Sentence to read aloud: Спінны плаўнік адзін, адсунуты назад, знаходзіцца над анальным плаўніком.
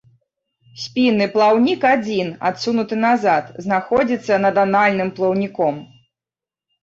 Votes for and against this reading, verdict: 1, 2, rejected